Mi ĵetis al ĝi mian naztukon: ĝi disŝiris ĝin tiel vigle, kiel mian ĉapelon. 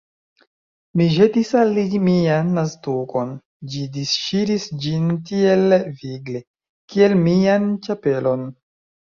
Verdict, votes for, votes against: rejected, 1, 2